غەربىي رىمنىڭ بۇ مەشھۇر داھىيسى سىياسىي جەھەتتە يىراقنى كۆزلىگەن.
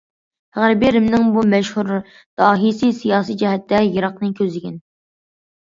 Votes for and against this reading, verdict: 2, 0, accepted